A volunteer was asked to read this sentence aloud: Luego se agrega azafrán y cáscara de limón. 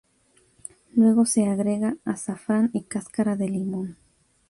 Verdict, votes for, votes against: accepted, 2, 0